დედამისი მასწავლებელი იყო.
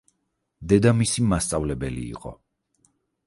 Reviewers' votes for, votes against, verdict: 4, 0, accepted